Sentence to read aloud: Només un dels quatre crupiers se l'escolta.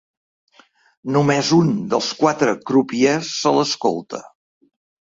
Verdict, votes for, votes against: accepted, 3, 0